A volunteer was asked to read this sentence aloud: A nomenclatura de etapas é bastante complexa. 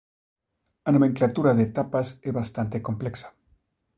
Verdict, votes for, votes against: accepted, 2, 1